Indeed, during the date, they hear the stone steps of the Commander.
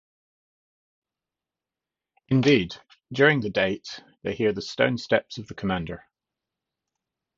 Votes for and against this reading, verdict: 2, 0, accepted